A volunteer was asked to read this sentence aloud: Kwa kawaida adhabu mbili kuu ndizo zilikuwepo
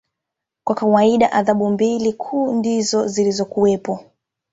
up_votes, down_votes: 2, 0